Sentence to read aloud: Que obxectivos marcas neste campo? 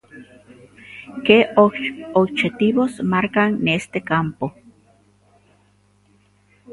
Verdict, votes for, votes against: rejected, 0, 2